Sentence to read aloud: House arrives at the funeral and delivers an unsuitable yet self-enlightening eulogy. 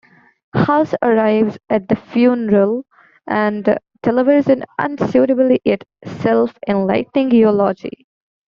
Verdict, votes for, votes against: rejected, 0, 2